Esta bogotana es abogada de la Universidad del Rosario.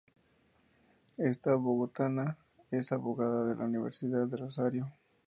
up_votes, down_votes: 4, 0